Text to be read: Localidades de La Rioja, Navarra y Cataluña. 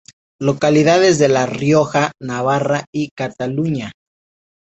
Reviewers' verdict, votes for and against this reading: accepted, 4, 0